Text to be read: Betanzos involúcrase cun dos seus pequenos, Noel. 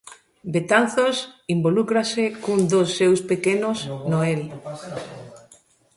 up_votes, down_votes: 1, 2